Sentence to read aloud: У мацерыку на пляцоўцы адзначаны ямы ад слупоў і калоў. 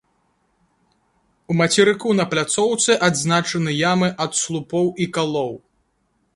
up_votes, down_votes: 2, 0